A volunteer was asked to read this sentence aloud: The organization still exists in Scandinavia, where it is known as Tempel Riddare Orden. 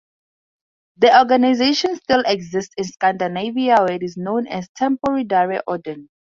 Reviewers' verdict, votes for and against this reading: accepted, 2, 0